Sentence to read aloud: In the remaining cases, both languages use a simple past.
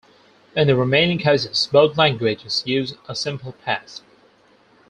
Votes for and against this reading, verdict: 4, 0, accepted